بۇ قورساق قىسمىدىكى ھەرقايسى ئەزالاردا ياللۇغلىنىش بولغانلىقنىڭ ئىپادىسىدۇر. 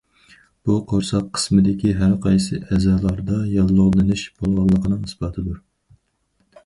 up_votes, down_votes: 0, 4